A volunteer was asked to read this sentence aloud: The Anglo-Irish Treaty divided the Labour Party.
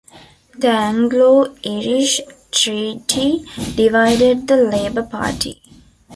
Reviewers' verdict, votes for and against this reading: rejected, 0, 2